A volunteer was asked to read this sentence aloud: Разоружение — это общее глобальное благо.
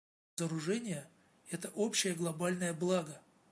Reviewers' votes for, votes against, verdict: 0, 2, rejected